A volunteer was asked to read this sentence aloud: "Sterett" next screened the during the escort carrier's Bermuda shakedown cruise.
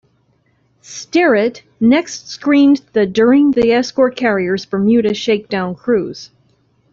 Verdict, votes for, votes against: rejected, 0, 2